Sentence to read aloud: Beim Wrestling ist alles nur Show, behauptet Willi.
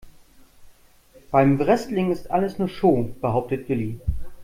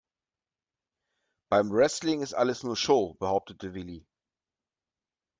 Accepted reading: first